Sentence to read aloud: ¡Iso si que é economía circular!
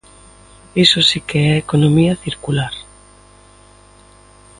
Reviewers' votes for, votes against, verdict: 2, 0, accepted